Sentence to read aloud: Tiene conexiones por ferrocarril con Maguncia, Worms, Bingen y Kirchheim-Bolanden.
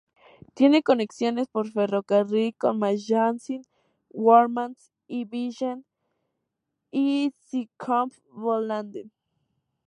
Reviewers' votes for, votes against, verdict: 0, 2, rejected